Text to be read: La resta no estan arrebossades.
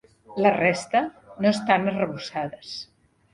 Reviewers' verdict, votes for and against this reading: accepted, 4, 0